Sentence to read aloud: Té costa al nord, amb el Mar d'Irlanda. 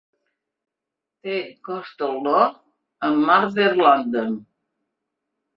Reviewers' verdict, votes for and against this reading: rejected, 0, 2